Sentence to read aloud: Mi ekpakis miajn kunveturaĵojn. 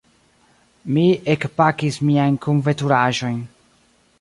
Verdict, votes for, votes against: rejected, 1, 2